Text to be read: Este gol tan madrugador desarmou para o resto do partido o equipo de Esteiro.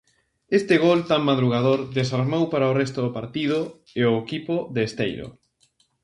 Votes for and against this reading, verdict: 0, 2, rejected